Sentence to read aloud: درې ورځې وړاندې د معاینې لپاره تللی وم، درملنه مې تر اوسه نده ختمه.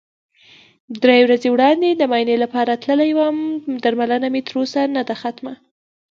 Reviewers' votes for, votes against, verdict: 2, 0, accepted